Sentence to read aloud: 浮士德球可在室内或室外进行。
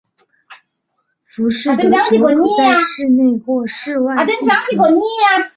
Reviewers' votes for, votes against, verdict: 0, 2, rejected